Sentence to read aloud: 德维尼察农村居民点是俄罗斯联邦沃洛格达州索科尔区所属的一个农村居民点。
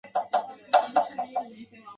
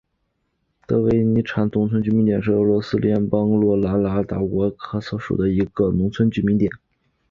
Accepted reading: second